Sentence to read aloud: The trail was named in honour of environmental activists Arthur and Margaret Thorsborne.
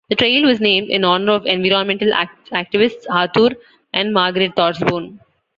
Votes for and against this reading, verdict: 1, 2, rejected